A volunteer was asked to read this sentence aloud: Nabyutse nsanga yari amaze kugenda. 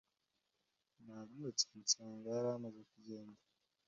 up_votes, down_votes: 2, 0